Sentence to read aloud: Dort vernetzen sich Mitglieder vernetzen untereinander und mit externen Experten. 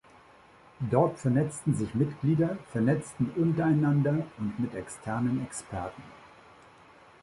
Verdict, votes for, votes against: rejected, 0, 2